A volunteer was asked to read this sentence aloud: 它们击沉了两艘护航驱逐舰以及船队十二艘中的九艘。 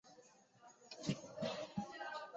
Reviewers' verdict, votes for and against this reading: rejected, 0, 2